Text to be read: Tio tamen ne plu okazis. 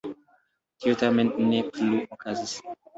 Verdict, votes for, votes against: accepted, 2, 0